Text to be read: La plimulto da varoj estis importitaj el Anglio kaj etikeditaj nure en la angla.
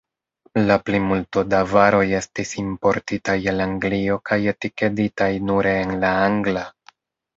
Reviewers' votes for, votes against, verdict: 1, 2, rejected